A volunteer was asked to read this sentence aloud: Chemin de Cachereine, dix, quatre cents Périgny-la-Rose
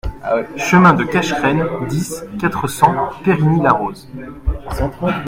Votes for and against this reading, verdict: 0, 2, rejected